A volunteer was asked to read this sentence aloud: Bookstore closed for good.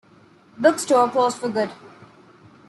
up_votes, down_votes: 2, 0